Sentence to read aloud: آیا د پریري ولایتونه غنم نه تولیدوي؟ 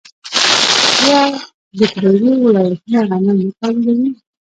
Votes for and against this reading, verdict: 1, 2, rejected